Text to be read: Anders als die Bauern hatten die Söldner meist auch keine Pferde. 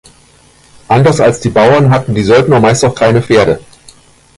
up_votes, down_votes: 1, 2